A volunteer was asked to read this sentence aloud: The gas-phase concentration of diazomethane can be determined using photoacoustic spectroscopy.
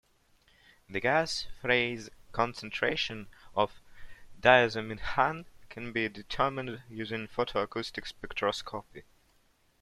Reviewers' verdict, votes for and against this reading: rejected, 1, 2